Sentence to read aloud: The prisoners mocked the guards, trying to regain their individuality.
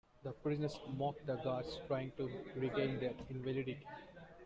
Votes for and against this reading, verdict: 0, 2, rejected